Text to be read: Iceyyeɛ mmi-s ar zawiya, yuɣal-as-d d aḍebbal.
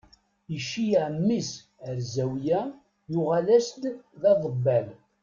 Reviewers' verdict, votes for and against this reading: accepted, 2, 0